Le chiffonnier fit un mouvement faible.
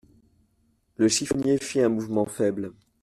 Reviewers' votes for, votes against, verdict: 2, 0, accepted